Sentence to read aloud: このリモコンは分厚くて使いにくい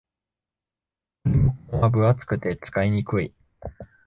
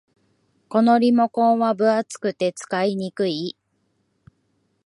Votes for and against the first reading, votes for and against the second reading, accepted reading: 1, 3, 2, 0, second